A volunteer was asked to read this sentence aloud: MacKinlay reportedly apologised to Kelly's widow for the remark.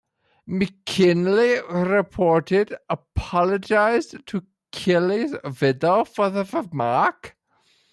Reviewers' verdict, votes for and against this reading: rejected, 0, 2